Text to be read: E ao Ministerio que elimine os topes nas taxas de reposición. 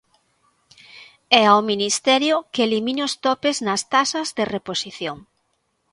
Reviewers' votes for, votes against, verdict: 2, 0, accepted